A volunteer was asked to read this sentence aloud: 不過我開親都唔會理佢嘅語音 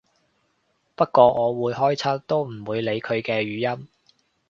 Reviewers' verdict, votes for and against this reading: rejected, 0, 3